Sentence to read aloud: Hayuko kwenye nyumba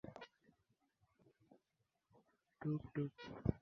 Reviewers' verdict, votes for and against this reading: rejected, 1, 3